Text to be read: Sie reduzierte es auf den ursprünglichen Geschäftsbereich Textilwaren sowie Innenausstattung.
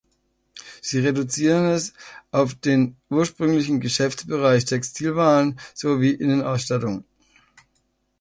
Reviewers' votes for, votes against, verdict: 0, 2, rejected